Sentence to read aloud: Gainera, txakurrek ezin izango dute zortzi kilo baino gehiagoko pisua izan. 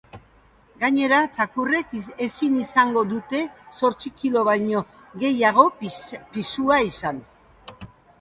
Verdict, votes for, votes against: rejected, 0, 2